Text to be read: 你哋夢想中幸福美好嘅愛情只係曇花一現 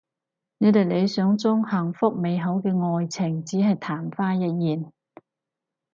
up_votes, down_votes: 0, 4